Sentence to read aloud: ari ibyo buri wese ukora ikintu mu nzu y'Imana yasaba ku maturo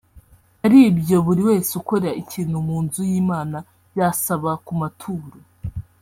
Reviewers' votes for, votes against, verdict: 1, 2, rejected